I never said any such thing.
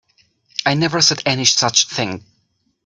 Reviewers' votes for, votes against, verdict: 3, 0, accepted